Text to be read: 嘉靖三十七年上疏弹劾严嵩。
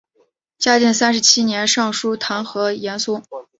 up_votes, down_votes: 2, 0